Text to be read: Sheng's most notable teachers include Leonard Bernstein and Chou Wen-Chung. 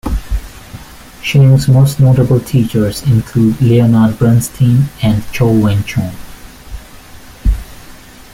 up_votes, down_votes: 2, 0